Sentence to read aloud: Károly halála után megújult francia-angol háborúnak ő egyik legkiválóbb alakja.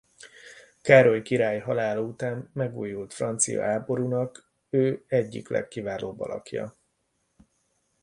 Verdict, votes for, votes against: rejected, 0, 2